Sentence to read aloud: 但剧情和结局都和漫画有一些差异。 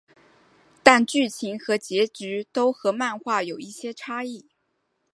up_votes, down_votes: 3, 1